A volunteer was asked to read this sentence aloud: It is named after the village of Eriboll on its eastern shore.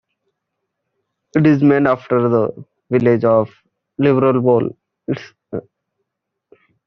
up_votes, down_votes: 0, 2